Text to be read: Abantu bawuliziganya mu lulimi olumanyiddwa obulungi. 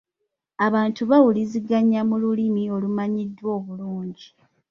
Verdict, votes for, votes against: accepted, 2, 0